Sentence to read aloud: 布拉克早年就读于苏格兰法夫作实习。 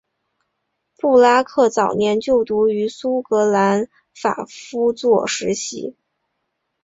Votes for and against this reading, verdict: 2, 0, accepted